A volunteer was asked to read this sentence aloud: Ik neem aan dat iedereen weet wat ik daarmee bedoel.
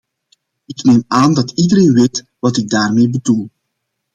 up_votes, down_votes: 2, 0